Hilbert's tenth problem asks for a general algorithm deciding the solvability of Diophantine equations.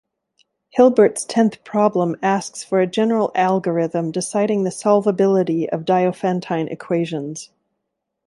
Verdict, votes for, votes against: accepted, 2, 1